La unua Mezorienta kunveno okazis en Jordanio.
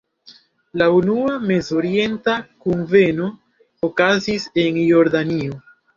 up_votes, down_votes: 2, 0